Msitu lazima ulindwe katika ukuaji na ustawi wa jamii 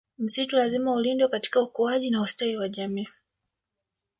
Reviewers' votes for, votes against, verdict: 2, 0, accepted